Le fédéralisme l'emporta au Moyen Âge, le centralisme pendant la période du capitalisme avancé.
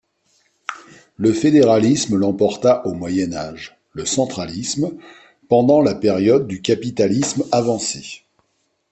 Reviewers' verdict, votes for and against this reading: accepted, 2, 0